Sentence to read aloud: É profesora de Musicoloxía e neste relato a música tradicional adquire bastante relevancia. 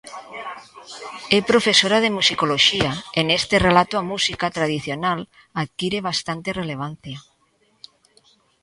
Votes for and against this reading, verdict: 2, 0, accepted